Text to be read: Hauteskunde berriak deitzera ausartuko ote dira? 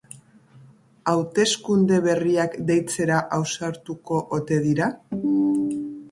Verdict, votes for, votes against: accepted, 2, 0